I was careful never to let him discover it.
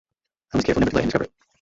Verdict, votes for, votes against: rejected, 0, 2